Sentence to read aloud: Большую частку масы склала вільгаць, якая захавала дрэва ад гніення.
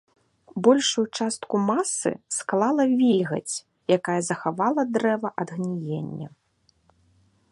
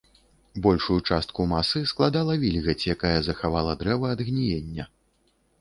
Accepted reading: first